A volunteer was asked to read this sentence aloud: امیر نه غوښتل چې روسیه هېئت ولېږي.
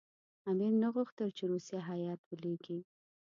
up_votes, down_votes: 2, 0